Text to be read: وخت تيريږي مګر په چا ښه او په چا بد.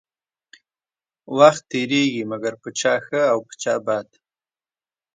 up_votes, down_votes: 1, 2